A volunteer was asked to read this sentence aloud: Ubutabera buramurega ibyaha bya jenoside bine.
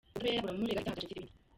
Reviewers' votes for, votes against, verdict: 0, 2, rejected